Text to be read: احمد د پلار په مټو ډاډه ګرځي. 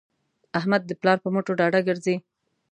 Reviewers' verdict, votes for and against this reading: accepted, 2, 0